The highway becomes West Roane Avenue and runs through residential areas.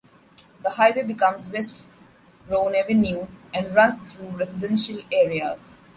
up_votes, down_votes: 2, 0